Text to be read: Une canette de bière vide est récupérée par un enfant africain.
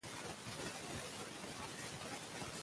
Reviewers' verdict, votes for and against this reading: rejected, 0, 2